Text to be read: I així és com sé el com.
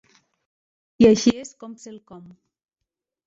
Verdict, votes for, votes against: rejected, 0, 2